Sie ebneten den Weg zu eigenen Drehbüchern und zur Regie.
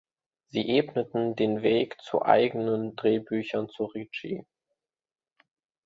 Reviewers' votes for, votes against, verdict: 1, 2, rejected